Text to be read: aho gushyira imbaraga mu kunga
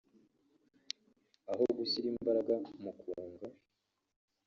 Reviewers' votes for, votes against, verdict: 0, 2, rejected